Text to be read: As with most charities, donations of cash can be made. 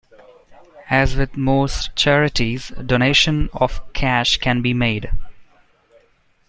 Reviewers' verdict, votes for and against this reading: rejected, 1, 2